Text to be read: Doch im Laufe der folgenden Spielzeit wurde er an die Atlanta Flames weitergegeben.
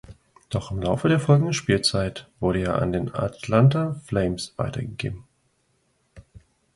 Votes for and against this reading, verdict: 0, 2, rejected